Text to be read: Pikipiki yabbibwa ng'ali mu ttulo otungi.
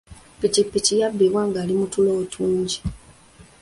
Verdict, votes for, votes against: accepted, 2, 0